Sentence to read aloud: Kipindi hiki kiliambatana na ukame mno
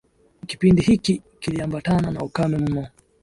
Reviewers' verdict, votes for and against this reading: accepted, 2, 0